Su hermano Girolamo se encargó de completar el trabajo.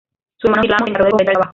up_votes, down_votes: 0, 2